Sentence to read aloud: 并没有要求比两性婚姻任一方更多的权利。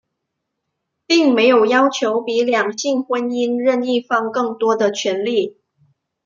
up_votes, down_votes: 2, 0